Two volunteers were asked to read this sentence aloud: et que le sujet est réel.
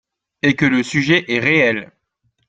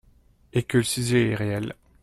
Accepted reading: first